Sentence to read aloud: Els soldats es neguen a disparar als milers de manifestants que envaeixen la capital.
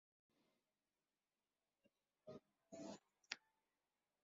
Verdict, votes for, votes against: rejected, 1, 2